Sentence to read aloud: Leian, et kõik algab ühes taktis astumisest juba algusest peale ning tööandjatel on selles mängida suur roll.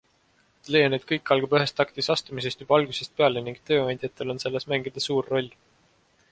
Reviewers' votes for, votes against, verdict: 2, 0, accepted